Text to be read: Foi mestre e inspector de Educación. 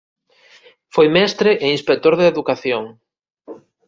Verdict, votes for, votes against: accepted, 2, 0